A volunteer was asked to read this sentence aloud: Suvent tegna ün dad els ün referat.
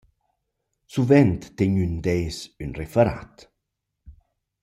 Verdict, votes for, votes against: rejected, 0, 2